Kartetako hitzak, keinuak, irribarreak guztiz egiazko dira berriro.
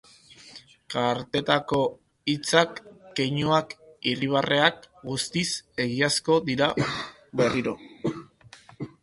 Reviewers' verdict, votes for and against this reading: rejected, 0, 2